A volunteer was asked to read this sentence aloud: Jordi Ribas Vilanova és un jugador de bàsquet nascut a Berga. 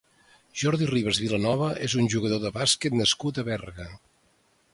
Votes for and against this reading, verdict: 2, 0, accepted